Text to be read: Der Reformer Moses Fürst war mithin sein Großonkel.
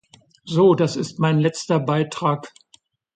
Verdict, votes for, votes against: rejected, 0, 2